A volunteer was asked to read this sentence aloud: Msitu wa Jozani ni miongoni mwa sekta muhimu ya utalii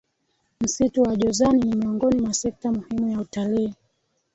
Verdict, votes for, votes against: accepted, 3, 0